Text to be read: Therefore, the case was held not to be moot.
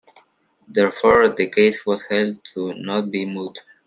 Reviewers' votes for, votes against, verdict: 2, 1, accepted